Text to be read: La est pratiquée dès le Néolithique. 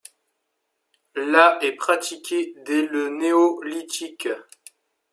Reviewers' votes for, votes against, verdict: 2, 0, accepted